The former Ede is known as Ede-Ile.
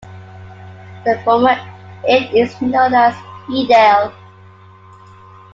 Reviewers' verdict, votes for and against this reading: accepted, 2, 0